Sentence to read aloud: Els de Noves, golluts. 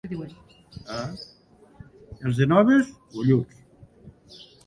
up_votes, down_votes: 0, 2